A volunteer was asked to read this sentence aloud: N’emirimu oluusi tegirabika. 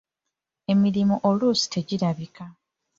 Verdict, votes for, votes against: rejected, 0, 2